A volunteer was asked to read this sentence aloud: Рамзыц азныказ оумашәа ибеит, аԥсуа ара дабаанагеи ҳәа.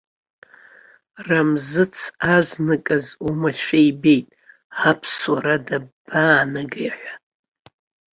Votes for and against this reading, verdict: 2, 0, accepted